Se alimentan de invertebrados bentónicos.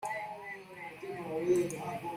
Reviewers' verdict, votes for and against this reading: rejected, 0, 2